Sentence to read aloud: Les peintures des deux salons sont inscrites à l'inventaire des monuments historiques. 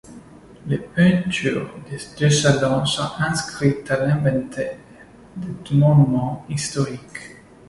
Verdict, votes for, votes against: accepted, 2, 0